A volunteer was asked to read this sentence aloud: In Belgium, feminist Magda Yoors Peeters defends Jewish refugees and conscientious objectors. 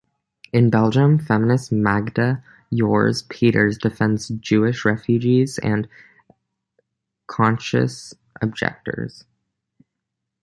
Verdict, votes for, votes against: rejected, 0, 2